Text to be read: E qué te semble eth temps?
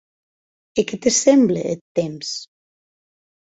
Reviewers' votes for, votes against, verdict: 2, 0, accepted